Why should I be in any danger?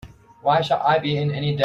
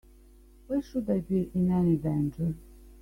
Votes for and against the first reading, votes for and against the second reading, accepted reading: 0, 2, 2, 0, second